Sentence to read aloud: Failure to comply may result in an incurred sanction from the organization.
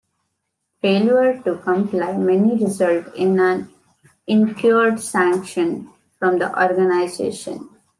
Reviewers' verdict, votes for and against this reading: rejected, 1, 2